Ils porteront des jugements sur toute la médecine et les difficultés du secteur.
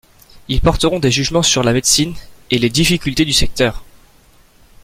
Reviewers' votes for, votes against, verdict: 1, 2, rejected